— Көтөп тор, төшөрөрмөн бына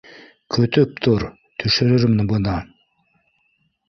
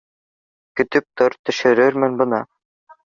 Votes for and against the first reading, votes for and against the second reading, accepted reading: 0, 2, 2, 0, second